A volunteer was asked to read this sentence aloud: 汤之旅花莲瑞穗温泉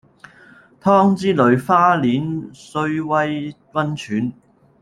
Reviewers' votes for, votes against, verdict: 0, 2, rejected